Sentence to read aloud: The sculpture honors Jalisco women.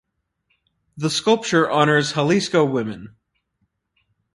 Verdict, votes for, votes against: rejected, 0, 4